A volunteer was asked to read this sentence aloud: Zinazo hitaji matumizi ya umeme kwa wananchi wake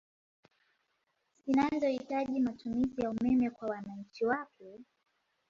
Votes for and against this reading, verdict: 2, 0, accepted